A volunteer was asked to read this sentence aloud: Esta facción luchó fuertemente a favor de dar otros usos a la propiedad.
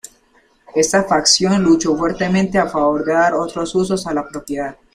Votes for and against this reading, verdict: 3, 0, accepted